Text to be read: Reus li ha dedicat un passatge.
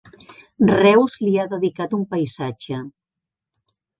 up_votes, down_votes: 1, 2